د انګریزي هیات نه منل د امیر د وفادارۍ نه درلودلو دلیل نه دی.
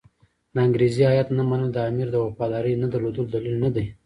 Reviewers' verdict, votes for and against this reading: rejected, 0, 2